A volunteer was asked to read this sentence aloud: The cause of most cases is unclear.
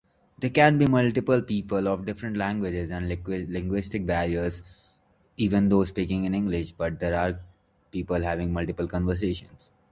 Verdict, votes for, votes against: rejected, 1, 2